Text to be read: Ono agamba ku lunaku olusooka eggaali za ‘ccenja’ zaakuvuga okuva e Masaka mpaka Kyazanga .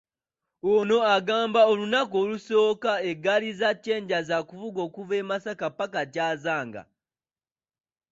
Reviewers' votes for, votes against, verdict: 1, 2, rejected